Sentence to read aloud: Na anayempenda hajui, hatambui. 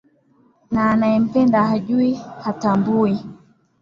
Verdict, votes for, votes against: accepted, 3, 0